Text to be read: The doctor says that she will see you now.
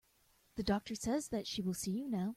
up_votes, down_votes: 2, 0